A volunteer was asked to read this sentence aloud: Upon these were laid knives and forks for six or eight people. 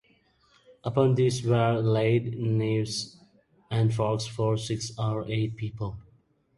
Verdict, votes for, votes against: rejected, 1, 2